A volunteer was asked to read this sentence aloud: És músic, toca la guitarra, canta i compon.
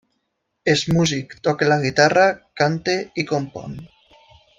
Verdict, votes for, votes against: accepted, 2, 0